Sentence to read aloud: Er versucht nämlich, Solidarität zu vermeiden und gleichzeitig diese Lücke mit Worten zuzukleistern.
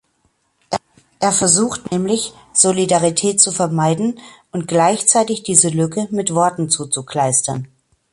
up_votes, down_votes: 2, 1